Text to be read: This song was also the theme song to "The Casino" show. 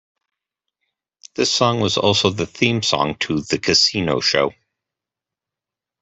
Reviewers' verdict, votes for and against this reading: accepted, 2, 0